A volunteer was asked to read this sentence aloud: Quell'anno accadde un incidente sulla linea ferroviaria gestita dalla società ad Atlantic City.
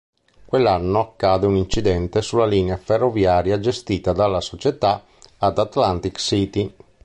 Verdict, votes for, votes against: rejected, 0, 3